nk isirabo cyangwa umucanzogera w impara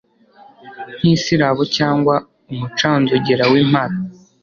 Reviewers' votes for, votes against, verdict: 2, 0, accepted